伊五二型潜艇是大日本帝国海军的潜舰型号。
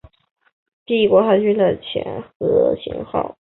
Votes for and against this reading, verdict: 0, 4, rejected